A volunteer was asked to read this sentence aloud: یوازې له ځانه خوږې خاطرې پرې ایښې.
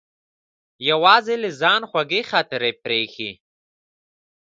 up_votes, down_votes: 2, 1